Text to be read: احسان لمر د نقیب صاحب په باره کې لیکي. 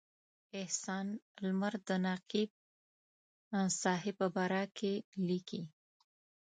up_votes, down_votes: 1, 2